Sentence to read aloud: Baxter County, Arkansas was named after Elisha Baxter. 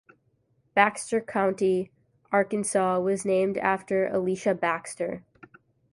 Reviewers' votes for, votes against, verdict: 2, 0, accepted